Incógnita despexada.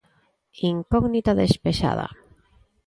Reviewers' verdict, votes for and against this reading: accepted, 2, 0